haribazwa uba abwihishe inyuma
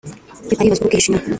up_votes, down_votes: 0, 2